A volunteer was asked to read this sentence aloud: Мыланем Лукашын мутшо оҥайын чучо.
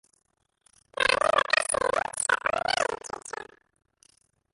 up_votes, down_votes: 0, 2